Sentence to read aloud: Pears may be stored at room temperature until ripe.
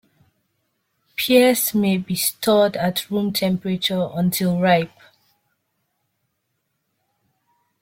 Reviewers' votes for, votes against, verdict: 2, 0, accepted